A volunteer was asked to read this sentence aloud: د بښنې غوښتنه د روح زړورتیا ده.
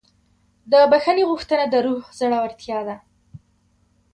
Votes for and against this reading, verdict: 2, 0, accepted